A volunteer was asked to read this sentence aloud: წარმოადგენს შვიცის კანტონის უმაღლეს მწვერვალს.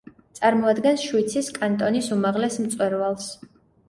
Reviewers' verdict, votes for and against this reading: accepted, 2, 0